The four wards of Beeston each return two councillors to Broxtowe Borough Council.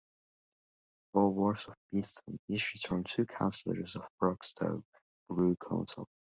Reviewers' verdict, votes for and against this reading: rejected, 1, 2